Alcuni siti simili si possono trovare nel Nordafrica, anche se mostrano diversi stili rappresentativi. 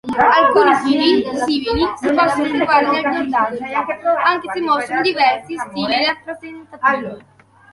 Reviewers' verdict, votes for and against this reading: rejected, 1, 3